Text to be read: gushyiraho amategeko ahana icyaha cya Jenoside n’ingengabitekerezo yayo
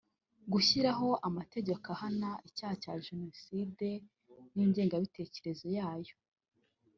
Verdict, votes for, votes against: accepted, 2, 0